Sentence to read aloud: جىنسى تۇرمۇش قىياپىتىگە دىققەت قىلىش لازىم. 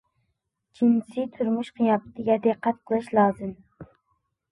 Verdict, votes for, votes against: accepted, 2, 1